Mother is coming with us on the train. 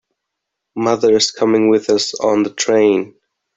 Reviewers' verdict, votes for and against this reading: accepted, 3, 0